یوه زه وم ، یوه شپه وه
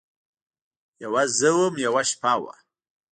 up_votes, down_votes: 0, 2